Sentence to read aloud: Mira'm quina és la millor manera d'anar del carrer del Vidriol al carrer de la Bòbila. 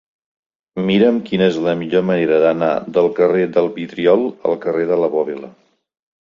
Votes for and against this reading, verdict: 2, 0, accepted